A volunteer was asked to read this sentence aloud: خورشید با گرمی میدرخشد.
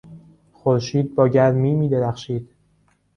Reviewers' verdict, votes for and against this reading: rejected, 0, 2